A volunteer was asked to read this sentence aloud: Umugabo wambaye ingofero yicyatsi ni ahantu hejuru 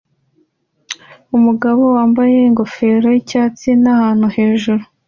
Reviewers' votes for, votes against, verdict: 2, 0, accepted